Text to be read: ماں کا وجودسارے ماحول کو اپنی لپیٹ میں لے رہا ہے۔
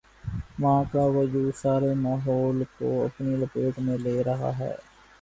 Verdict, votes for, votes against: accepted, 8, 0